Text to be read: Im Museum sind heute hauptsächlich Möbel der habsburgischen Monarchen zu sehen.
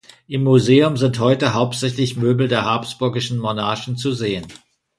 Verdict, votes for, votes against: accepted, 2, 0